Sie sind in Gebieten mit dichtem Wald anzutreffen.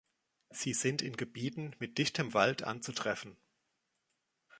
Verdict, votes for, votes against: accepted, 2, 1